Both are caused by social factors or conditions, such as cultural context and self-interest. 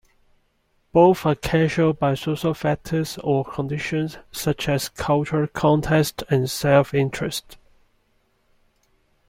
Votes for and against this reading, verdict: 1, 2, rejected